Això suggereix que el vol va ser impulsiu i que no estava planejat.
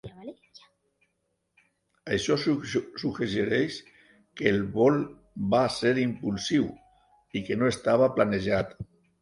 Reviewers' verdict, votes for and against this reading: rejected, 0, 2